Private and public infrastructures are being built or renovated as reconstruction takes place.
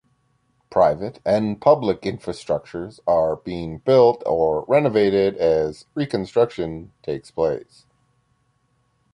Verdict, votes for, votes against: accepted, 2, 0